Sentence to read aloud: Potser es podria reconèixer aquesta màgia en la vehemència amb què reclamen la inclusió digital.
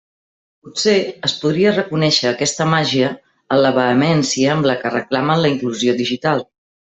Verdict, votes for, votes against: rejected, 0, 2